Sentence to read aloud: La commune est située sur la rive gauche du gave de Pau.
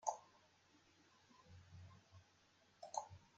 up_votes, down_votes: 0, 2